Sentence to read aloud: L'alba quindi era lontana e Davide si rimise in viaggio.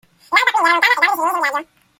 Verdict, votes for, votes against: rejected, 0, 2